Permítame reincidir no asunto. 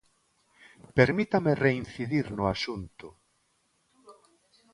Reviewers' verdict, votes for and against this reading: accepted, 2, 0